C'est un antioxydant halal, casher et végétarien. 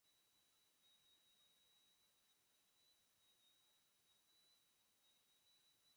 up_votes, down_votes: 0, 4